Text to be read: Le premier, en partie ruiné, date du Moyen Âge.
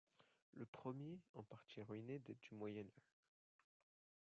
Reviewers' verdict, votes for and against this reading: rejected, 1, 2